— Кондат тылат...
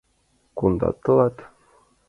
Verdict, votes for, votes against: accepted, 2, 0